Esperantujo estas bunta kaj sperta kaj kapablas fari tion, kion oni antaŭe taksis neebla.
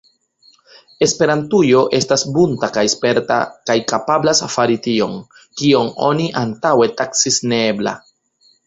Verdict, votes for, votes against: accepted, 2, 0